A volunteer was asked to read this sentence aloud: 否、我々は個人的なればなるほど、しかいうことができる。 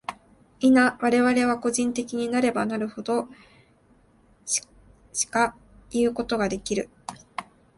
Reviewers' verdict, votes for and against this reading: rejected, 0, 2